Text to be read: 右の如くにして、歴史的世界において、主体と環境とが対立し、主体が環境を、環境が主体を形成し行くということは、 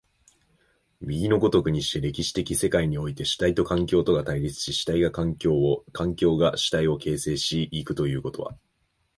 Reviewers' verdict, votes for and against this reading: accepted, 2, 1